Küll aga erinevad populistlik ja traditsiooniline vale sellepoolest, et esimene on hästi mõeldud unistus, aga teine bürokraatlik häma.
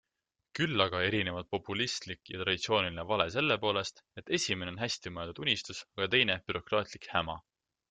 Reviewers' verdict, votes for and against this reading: accepted, 2, 0